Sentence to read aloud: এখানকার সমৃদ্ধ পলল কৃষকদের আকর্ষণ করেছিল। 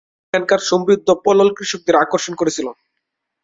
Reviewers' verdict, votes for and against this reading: accepted, 5, 0